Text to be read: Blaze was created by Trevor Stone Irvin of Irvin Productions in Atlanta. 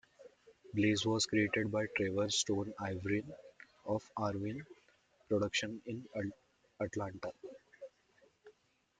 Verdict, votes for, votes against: rejected, 1, 2